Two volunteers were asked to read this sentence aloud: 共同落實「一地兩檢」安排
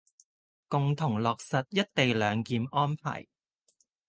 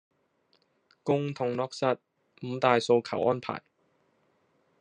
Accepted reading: first